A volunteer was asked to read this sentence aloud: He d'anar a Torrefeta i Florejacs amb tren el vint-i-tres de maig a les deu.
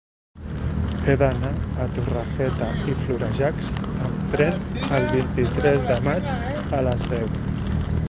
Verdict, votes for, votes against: rejected, 1, 2